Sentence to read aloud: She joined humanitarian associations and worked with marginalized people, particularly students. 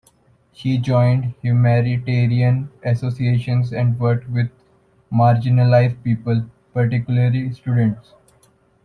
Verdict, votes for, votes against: accepted, 2, 0